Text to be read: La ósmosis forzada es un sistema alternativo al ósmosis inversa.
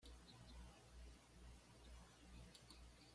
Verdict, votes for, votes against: rejected, 1, 2